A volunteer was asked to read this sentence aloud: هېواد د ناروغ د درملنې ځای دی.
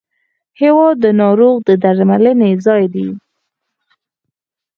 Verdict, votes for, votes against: accepted, 4, 2